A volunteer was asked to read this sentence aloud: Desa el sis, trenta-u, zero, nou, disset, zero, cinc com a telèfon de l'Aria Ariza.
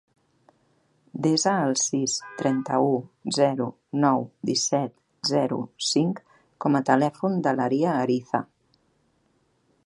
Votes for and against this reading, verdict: 3, 0, accepted